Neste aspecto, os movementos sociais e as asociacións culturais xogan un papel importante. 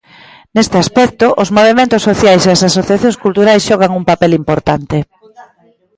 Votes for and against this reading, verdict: 2, 0, accepted